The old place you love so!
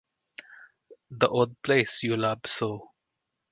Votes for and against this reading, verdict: 2, 2, rejected